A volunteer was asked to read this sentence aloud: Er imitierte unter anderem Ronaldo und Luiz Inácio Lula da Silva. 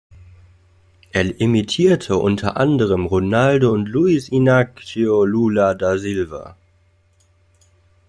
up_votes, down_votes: 2, 1